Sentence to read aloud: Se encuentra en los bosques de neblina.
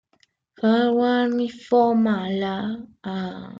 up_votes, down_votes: 0, 2